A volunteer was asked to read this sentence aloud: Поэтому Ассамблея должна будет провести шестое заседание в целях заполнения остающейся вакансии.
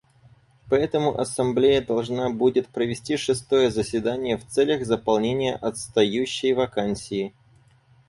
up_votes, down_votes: 2, 4